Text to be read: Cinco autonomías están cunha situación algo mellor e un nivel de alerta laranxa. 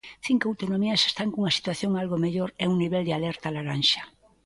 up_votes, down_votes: 2, 0